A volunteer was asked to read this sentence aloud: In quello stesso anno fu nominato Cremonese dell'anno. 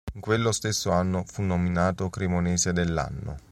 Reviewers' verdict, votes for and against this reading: rejected, 1, 2